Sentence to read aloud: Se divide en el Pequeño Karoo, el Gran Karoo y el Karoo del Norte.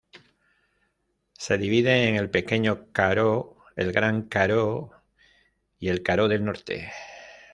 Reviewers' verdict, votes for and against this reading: accepted, 2, 0